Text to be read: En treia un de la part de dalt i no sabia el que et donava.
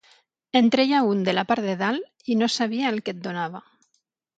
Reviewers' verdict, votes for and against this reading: accepted, 6, 0